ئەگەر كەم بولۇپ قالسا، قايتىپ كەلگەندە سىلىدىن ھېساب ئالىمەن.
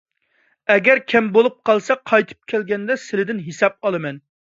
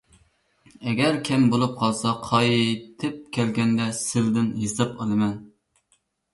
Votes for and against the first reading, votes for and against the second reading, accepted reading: 2, 0, 1, 2, first